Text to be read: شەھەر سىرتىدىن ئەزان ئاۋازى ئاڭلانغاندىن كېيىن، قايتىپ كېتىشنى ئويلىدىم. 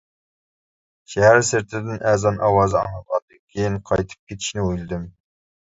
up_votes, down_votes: 0, 2